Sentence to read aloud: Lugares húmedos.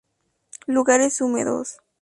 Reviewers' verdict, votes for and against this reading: accepted, 4, 0